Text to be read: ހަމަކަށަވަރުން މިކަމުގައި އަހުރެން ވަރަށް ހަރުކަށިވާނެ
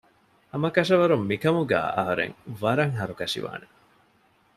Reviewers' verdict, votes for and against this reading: accepted, 2, 0